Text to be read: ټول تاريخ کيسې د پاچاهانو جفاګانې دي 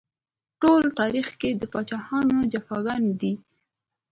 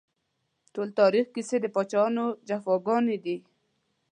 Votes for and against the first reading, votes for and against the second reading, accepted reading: 2, 1, 1, 2, first